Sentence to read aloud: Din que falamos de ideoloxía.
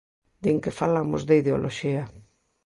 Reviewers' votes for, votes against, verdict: 2, 0, accepted